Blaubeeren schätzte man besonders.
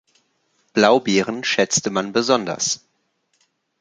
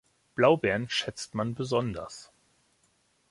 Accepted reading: first